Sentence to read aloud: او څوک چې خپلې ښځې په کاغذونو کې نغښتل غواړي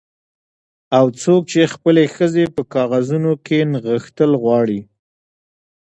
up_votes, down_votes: 2, 1